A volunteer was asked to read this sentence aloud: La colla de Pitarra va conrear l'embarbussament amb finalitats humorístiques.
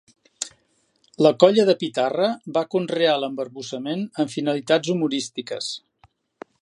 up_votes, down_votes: 3, 0